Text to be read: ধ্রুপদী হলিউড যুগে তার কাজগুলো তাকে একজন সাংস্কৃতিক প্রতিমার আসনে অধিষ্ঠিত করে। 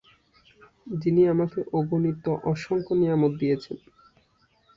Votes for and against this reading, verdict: 1, 8, rejected